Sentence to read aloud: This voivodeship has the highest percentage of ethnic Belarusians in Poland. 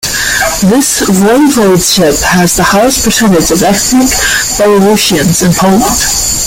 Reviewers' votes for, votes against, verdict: 2, 0, accepted